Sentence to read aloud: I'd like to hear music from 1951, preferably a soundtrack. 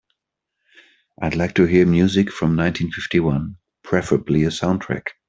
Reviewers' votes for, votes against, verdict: 0, 2, rejected